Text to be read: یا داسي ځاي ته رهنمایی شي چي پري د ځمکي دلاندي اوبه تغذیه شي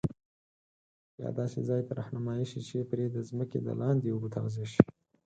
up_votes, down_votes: 2, 4